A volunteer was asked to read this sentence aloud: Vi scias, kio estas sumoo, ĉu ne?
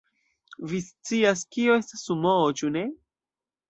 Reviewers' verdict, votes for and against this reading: accepted, 2, 0